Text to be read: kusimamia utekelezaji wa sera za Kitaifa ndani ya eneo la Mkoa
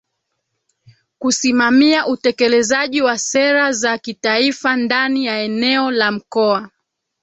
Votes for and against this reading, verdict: 1, 2, rejected